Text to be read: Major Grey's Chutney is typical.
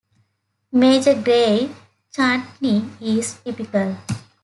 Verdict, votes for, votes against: accepted, 2, 0